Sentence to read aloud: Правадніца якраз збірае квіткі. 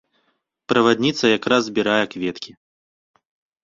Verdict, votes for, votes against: rejected, 0, 2